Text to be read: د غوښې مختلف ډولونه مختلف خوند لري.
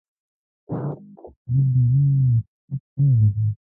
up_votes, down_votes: 0, 2